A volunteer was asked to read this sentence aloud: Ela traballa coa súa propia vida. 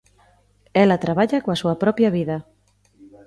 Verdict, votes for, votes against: accepted, 2, 0